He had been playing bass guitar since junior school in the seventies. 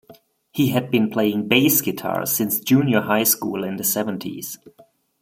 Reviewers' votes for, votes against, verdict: 1, 2, rejected